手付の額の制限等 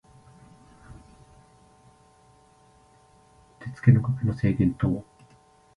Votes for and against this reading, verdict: 1, 2, rejected